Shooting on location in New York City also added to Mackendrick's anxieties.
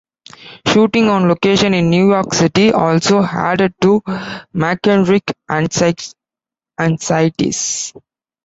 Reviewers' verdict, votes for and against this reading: rejected, 0, 2